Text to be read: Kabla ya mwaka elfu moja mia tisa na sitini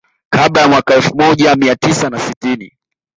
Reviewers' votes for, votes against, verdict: 2, 0, accepted